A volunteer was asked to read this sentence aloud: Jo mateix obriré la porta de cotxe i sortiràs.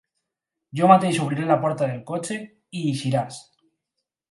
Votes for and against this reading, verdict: 2, 4, rejected